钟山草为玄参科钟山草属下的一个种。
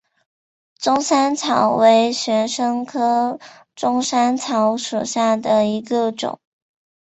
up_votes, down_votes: 2, 0